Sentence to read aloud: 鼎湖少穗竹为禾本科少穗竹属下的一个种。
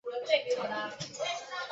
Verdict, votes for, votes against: rejected, 0, 7